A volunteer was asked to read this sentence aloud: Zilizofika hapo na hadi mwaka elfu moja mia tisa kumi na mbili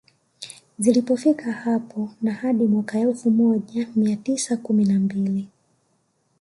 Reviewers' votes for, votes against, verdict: 2, 0, accepted